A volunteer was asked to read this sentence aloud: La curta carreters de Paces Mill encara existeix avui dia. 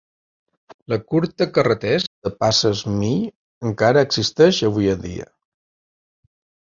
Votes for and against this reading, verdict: 0, 2, rejected